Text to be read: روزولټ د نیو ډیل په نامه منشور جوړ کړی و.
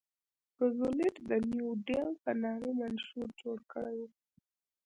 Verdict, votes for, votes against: rejected, 1, 2